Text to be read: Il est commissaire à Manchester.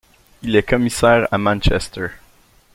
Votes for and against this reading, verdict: 2, 0, accepted